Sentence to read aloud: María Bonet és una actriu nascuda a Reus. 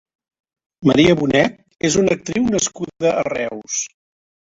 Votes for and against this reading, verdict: 3, 0, accepted